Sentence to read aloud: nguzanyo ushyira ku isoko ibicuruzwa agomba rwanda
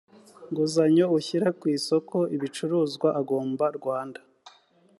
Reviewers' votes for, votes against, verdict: 2, 0, accepted